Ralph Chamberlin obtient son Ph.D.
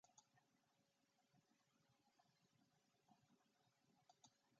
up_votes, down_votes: 0, 2